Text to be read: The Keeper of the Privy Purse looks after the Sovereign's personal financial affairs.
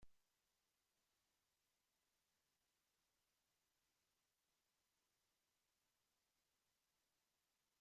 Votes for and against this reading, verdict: 0, 11, rejected